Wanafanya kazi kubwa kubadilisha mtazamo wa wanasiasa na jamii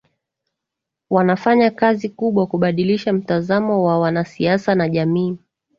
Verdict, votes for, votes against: accepted, 2, 0